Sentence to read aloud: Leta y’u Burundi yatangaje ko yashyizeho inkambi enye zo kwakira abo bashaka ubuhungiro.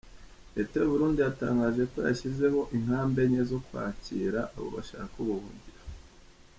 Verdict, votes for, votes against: accepted, 2, 0